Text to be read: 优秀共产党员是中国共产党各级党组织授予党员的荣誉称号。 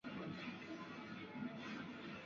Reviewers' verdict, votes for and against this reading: rejected, 0, 5